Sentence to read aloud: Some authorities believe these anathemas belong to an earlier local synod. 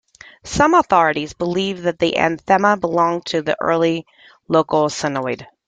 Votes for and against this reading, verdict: 1, 3, rejected